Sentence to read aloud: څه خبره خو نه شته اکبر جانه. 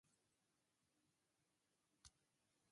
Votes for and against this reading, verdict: 0, 2, rejected